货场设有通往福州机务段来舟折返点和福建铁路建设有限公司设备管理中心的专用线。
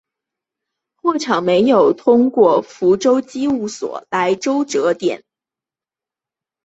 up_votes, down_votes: 0, 2